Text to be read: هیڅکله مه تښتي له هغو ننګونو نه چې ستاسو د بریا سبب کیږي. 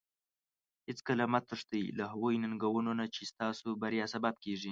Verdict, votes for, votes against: accepted, 2, 0